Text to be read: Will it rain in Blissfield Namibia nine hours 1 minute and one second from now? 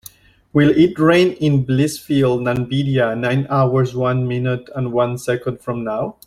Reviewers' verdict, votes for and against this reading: rejected, 0, 2